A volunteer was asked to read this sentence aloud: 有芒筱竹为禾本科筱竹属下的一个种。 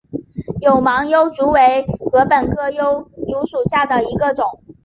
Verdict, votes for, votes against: rejected, 0, 3